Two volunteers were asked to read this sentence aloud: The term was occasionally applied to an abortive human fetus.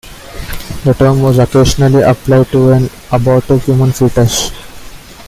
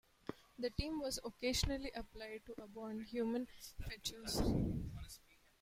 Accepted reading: first